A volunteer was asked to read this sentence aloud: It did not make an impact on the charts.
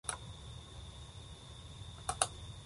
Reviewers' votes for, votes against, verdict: 0, 2, rejected